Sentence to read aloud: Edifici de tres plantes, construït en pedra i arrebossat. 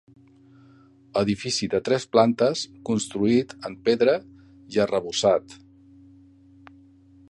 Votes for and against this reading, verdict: 5, 0, accepted